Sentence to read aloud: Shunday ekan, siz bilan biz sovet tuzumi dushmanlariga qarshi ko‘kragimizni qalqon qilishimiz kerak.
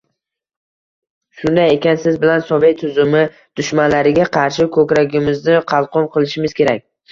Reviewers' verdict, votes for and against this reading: rejected, 1, 2